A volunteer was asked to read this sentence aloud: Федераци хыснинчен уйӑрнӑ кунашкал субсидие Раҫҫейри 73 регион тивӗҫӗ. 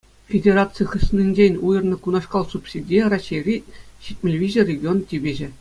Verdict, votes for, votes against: rejected, 0, 2